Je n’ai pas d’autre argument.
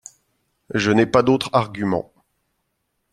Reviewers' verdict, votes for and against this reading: accepted, 2, 0